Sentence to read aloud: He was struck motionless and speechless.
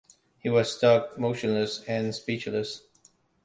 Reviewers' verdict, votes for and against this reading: rejected, 0, 2